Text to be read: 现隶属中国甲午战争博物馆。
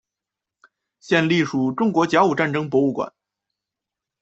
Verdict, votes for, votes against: accepted, 2, 0